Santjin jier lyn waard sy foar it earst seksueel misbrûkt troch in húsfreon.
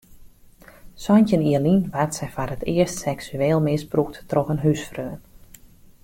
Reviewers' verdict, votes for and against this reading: accepted, 2, 0